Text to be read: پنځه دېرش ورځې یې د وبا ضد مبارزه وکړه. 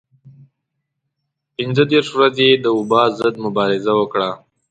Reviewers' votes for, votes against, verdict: 2, 0, accepted